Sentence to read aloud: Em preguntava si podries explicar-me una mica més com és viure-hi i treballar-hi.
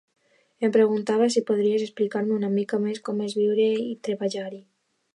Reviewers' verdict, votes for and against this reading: accepted, 2, 1